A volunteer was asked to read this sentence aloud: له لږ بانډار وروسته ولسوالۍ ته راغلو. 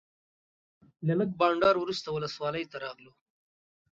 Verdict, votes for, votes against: accepted, 2, 0